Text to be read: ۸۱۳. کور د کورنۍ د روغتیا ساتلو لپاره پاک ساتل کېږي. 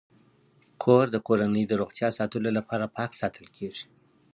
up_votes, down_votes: 0, 2